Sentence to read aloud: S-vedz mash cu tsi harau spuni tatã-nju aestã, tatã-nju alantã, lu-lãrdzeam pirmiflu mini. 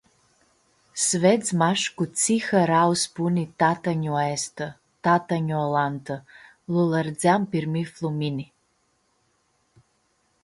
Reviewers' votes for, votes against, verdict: 2, 0, accepted